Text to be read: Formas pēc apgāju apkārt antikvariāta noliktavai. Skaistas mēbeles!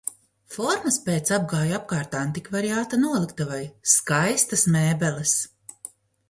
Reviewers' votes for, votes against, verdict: 2, 0, accepted